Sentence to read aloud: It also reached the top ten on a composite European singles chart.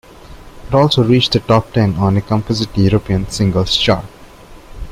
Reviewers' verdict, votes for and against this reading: rejected, 1, 2